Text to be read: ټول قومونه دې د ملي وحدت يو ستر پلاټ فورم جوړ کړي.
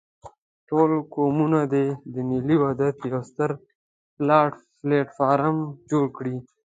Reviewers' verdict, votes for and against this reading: rejected, 1, 2